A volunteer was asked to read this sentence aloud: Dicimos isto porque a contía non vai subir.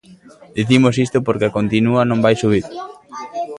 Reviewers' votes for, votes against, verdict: 0, 2, rejected